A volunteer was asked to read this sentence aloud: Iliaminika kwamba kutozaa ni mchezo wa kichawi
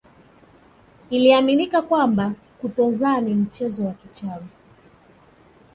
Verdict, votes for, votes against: accepted, 2, 1